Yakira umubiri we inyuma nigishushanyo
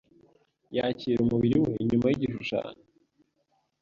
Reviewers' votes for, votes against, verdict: 2, 0, accepted